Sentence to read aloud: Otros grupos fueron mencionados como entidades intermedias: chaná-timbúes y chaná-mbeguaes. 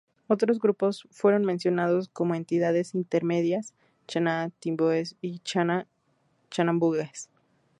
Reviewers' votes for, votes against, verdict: 0, 2, rejected